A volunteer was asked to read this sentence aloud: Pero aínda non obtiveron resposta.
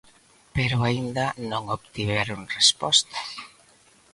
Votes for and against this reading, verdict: 2, 0, accepted